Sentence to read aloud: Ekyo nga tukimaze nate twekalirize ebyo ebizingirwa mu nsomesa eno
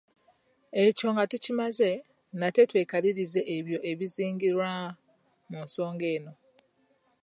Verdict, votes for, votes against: accepted, 2, 1